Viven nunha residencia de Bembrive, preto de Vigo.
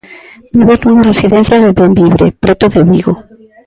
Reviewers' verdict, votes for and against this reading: rejected, 0, 2